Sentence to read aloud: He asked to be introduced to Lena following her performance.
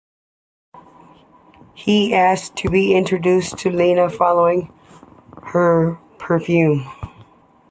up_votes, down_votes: 0, 3